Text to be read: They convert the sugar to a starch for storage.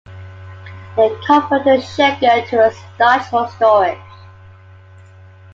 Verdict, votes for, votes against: rejected, 0, 2